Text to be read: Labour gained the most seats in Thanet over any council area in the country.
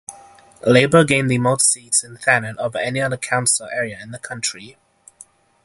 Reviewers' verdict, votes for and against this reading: accepted, 3, 0